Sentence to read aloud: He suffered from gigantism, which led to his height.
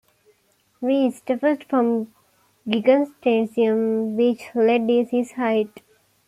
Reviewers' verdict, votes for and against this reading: rejected, 0, 2